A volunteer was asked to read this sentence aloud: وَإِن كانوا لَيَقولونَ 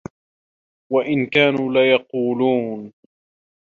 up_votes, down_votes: 2, 1